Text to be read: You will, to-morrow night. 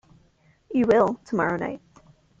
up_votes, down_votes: 1, 2